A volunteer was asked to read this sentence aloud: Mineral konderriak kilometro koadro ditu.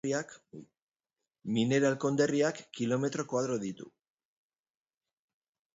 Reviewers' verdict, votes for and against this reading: rejected, 1, 2